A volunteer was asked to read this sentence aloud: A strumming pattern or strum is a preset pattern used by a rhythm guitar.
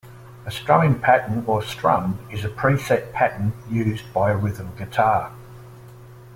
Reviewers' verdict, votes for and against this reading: accepted, 2, 0